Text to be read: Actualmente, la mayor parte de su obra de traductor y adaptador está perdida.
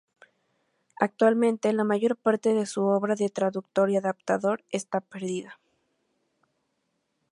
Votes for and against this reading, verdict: 2, 0, accepted